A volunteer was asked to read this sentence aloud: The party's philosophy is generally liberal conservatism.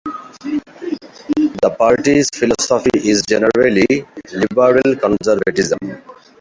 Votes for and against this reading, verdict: 2, 0, accepted